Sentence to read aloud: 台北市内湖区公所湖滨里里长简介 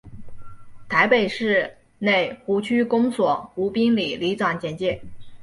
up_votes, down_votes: 9, 0